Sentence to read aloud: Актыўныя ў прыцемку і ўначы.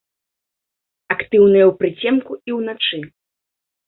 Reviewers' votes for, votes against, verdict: 1, 2, rejected